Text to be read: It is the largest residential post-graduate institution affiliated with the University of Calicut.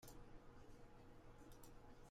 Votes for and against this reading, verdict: 0, 2, rejected